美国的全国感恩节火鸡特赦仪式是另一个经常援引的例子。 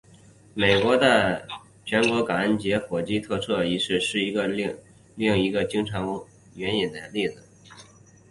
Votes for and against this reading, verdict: 1, 2, rejected